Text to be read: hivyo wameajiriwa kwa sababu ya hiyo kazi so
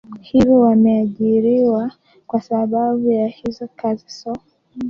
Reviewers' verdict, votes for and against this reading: rejected, 0, 2